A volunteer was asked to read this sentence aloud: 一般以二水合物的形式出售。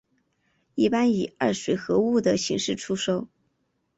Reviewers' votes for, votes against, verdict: 2, 0, accepted